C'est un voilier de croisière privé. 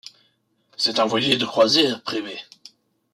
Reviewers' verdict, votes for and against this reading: rejected, 1, 2